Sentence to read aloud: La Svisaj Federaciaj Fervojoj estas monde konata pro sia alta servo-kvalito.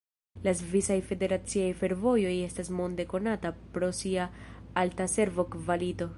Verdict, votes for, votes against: rejected, 1, 2